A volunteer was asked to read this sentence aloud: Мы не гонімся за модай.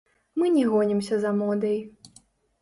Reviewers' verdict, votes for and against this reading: rejected, 0, 2